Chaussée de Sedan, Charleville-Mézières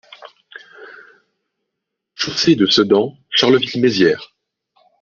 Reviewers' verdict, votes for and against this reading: rejected, 0, 2